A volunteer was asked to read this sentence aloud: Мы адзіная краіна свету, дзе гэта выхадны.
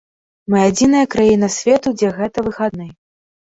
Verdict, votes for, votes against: rejected, 1, 2